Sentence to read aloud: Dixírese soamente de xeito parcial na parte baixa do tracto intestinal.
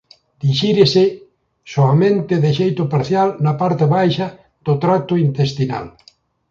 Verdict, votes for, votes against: accepted, 2, 0